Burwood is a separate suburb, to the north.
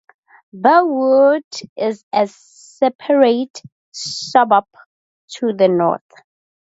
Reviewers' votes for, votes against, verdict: 2, 0, accepted